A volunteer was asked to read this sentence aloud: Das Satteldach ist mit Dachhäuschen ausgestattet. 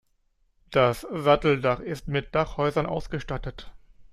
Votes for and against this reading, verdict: 0, 2, rejected